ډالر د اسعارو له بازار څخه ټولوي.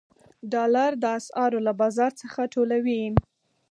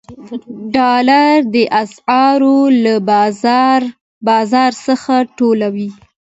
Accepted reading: first